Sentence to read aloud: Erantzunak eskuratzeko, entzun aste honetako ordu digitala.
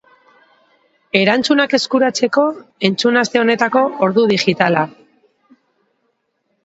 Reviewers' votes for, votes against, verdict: 1, 2, rejected